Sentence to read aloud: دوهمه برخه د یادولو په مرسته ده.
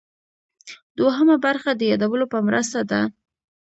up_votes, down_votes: 2, 0